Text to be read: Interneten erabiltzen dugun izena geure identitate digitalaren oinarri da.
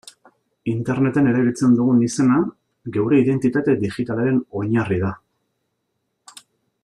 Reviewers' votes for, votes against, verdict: 2, 1, accepted